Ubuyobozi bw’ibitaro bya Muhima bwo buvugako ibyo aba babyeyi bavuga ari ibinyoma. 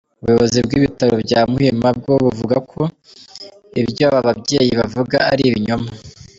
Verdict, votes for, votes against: accepted, 2, 0